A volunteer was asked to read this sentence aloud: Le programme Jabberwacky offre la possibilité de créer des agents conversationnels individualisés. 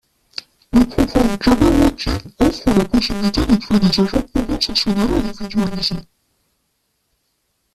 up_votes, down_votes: 0, 2